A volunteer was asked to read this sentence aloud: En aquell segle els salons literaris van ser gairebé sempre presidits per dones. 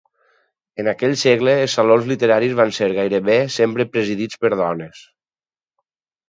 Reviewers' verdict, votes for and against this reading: accepted, 4, 0